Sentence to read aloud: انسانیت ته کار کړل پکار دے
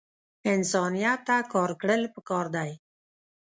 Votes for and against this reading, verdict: 0, 2, rejected